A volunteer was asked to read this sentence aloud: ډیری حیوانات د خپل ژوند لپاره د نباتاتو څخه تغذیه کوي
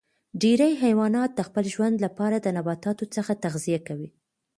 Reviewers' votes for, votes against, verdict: 1, 2, rejected